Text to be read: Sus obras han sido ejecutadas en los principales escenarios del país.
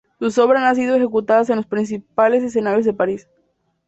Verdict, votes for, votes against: rejected, 2, 4